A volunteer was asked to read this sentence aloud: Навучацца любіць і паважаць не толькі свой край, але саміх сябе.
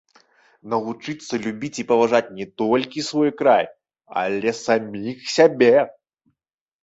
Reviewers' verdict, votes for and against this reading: rejected, 1, 2